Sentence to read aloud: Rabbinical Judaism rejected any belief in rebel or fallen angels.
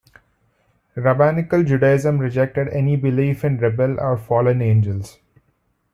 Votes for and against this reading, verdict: 2, 0, accepted